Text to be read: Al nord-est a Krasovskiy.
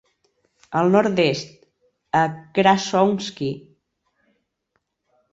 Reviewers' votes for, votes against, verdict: 2, 0, accepted